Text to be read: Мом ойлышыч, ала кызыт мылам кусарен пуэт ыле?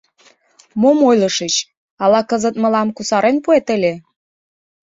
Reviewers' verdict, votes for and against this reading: accepted, 2, 0